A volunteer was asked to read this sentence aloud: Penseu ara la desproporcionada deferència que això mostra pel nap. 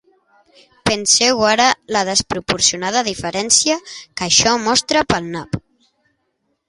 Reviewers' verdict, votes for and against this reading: accepted, 2, 0